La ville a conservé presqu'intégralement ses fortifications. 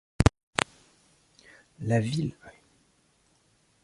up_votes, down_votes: 0, 2